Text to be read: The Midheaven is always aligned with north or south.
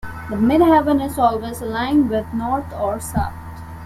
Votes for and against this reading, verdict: 2, 0, accepted